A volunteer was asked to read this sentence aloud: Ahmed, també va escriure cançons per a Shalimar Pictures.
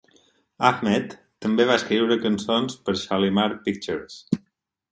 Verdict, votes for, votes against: rejected, 0, 4